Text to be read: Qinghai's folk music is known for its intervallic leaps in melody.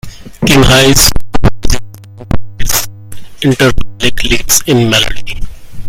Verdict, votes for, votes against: rejected, 0, 2